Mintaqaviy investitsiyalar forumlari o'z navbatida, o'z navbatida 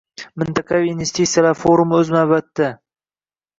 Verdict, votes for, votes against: accepted, 2, 0